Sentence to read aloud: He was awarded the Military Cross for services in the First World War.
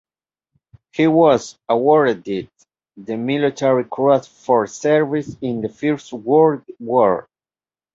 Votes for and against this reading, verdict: 1, 2, rejected